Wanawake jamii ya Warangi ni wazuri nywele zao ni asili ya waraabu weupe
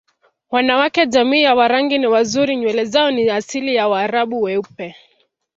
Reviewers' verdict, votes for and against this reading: accepted, 3, 0